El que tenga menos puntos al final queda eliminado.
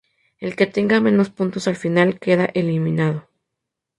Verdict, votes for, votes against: accepted, 2, 0